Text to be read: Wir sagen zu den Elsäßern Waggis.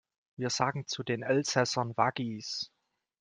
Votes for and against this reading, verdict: 2, 0, accepted